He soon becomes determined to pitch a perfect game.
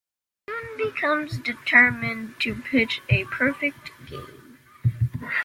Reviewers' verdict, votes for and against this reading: rejected, 0, 2